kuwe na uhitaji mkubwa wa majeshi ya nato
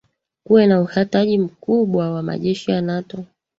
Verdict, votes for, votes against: rejected, 1, 2